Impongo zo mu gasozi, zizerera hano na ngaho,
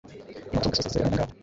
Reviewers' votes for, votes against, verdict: 1, 2, rejected